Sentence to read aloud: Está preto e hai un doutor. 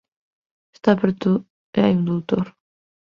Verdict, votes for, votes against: rejected, 0, 2